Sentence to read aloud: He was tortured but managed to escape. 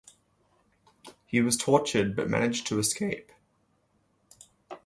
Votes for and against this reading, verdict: 2, 0, accepted